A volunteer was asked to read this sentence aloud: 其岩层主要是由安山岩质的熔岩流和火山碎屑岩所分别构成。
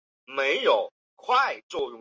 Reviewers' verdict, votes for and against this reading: rejected, 0, 4